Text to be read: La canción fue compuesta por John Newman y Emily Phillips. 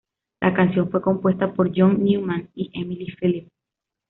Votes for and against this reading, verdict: 2, 1, accepted